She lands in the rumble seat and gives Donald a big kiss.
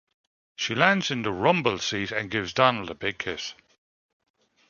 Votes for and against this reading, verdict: 2, 1, accepted